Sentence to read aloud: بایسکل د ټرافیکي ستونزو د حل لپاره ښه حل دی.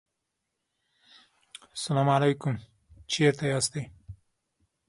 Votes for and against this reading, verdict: 0, 2, rejected